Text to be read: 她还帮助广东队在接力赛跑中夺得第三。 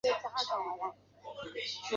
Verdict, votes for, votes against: rejected, 1, 2